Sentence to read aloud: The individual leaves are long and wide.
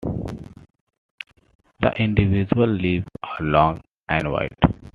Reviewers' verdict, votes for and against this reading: accepted, 2, 1